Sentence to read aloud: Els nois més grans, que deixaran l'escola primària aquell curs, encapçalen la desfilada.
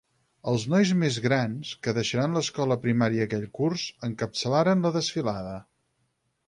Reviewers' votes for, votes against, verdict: 2, 4, rejected